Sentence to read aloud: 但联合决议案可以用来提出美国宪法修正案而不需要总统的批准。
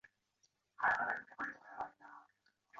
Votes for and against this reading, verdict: 0, 2, rejected